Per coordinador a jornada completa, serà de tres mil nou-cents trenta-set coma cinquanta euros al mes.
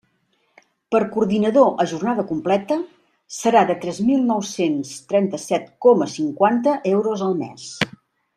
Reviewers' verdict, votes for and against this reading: accepted, 2, 0